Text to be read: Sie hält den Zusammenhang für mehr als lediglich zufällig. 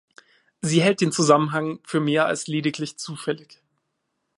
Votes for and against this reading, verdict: 2, 0, accepted